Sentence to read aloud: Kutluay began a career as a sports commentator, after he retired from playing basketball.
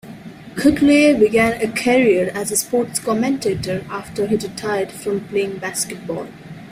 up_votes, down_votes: 2, 0